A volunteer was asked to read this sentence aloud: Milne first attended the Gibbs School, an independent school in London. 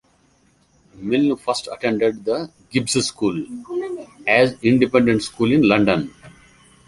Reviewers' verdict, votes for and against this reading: rejected, 0, 2